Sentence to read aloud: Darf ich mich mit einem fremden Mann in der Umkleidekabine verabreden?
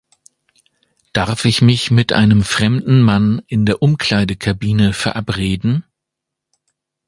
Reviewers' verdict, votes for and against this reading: accepted, 2, 0